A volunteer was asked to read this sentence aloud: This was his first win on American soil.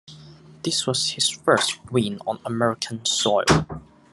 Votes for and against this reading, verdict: 2, 1, accepted